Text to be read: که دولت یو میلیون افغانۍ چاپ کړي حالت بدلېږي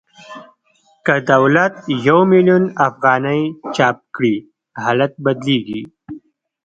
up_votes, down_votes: 2, 1